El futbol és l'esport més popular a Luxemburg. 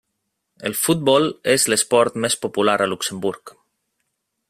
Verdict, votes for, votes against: rejected, 1, 2